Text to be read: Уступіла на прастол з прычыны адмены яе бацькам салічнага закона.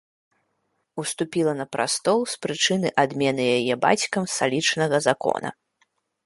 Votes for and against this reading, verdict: 2, 0, accepted